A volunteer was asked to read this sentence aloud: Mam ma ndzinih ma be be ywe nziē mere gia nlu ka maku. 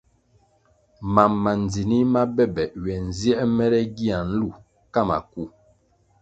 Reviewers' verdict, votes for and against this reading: accepted, 2, 0